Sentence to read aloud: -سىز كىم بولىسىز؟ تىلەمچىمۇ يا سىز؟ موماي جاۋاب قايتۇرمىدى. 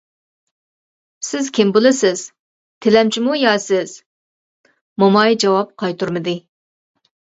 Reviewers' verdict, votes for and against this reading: accepted, 2, 0